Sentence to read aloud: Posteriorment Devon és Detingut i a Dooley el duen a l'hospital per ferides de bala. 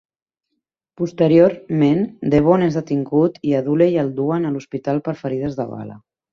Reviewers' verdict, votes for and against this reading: accepted, 2, 0